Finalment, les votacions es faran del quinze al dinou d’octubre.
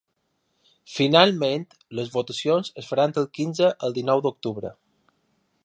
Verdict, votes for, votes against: accepted, 3, 0